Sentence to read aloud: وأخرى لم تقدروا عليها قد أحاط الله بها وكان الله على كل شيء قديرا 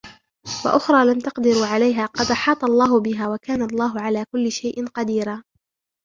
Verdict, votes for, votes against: rejected, 2, 4